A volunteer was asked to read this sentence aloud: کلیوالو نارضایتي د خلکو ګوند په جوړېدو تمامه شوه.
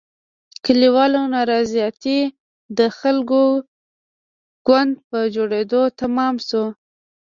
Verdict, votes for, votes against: accepted, 2, 0